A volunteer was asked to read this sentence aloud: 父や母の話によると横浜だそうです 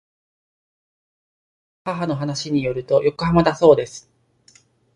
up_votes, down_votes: 0, 2